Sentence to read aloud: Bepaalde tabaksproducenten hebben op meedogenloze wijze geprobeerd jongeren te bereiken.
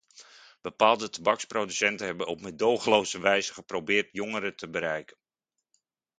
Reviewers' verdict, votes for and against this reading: accepted, 2, 0